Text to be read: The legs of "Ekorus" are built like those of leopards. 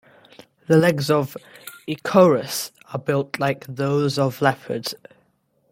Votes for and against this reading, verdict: 2, 0, accepted